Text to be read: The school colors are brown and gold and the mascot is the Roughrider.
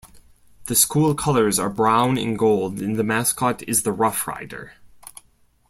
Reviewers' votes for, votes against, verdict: 2, 0, accepted